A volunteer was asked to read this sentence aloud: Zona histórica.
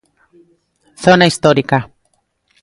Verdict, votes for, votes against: accepted, 2, 0